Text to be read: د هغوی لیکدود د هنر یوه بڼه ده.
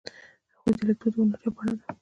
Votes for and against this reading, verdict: 2, 0, accepted